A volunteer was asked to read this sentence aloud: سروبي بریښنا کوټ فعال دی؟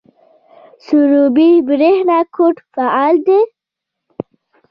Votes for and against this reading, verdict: 1, 2, rejected